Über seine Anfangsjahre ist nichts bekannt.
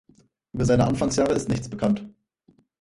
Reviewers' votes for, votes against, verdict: 2, 4, rejected